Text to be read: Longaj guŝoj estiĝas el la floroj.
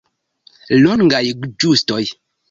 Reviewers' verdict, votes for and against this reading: rejected, 1, 2